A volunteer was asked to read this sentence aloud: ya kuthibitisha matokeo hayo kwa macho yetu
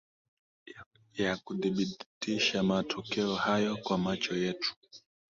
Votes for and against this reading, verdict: 2, 0, accepted